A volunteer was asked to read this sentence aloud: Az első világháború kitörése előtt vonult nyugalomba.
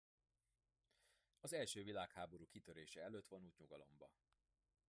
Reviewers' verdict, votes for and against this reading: rejected, 1, 2